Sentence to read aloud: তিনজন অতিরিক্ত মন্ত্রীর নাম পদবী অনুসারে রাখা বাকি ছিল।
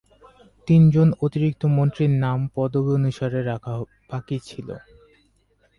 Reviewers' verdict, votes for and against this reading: accepted, 4, 2